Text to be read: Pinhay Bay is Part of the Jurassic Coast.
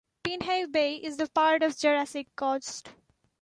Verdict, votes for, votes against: accepted, 2, 1